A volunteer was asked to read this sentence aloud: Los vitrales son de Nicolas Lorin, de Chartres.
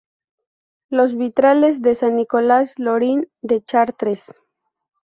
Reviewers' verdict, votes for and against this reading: accepted, 2, 0